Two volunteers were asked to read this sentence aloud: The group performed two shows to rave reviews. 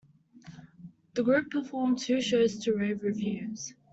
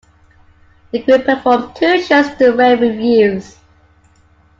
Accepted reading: first